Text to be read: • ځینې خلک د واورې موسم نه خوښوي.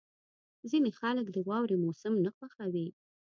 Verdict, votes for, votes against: accepted, 2, 0